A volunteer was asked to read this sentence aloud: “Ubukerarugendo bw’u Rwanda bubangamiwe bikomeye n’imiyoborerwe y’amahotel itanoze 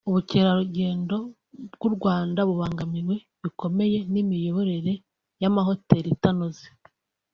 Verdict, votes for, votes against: accepted, 2, 1